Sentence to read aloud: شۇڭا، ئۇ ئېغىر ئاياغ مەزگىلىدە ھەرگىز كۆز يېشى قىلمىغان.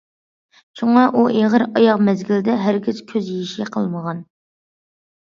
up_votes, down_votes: 2, 0